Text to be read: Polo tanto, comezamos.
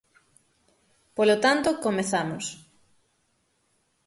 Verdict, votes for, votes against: accepted, 6, 0